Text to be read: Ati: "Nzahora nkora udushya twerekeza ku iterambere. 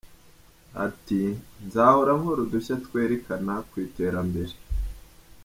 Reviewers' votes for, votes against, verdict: 1, 2, rejected